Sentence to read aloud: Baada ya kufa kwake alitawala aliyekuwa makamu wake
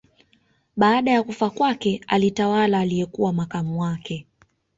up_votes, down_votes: 1, 2